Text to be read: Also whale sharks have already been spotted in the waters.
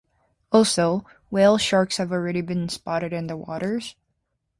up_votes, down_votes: 2, 0